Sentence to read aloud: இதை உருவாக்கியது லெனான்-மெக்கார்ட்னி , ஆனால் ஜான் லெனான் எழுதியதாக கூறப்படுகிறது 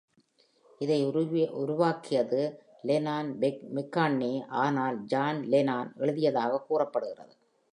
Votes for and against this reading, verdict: 0, 2, rejected